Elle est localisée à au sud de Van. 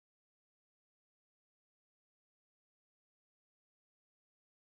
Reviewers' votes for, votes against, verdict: 0, 2, rejected